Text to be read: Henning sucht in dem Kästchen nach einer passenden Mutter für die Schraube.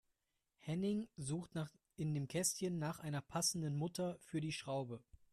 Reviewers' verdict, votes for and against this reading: rejected, 1, 2